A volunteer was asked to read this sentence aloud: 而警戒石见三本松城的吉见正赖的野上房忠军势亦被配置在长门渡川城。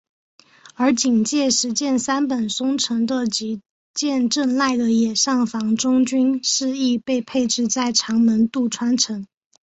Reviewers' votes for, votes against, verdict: 0, 2, rejected